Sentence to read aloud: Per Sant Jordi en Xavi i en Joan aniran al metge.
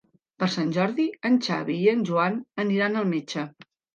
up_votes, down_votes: 3, 0